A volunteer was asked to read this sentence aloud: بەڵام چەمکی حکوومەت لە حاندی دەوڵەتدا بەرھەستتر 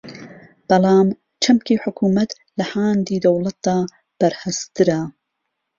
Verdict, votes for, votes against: rejected, 0, 2